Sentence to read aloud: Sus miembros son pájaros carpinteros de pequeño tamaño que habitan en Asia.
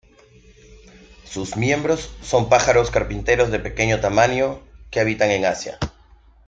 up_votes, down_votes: 2, 0